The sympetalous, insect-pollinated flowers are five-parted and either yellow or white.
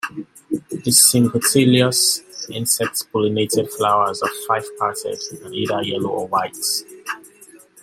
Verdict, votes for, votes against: accepted, 2, 0